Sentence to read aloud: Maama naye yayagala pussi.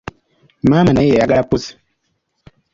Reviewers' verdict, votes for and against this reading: accepted, 2, 0